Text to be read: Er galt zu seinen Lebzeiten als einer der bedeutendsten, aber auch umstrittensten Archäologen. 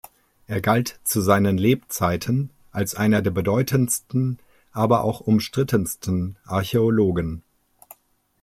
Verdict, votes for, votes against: accepted, 2, 0